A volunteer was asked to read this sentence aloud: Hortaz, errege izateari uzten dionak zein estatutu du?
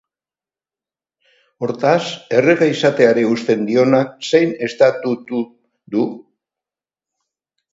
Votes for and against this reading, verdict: 2, 2, rejected